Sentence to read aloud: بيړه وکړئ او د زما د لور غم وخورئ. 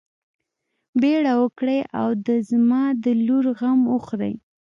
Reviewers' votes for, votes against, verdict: 2, 0, accepted